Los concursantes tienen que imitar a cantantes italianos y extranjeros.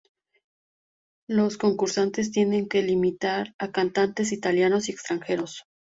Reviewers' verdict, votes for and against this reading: rejected, 0, 2